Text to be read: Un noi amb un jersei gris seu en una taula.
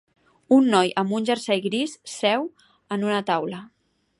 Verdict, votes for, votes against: accepted, 4, 0